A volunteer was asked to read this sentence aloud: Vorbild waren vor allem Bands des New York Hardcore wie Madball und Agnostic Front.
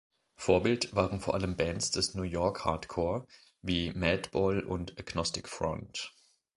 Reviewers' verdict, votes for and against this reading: accepted, 2, 0